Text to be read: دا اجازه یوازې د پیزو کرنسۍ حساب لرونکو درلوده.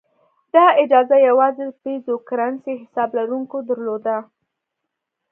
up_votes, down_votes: 2, 0